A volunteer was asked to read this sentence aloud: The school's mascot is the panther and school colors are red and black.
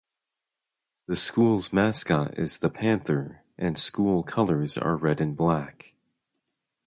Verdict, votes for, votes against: rejected, 0, 2